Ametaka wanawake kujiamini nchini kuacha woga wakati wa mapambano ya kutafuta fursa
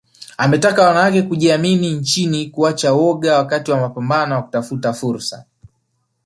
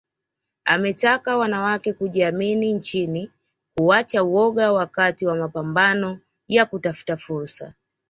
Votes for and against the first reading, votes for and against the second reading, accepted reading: 0, 2, 2, 0, second